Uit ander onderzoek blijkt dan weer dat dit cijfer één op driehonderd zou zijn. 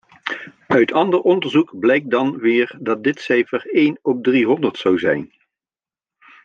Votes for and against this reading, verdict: 2, 0, accepted